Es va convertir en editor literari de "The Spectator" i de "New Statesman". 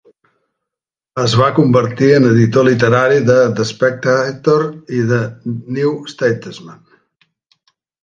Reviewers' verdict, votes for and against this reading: rejected, 1, 3